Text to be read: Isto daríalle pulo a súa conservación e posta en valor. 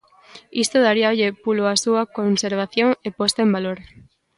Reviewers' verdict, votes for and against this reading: accepted, 2, 0